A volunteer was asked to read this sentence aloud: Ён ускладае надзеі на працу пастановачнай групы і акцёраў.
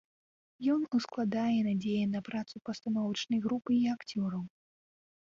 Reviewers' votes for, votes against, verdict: 2, 0, accepted